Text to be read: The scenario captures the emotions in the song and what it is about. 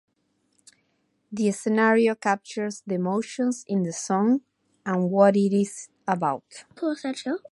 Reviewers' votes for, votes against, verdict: 2, 0, accepted